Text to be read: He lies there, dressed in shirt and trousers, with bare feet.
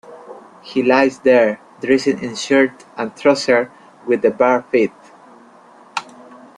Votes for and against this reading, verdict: 1, 2, rejected